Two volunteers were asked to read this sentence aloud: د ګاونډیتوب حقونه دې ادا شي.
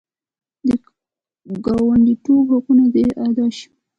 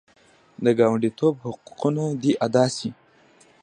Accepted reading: first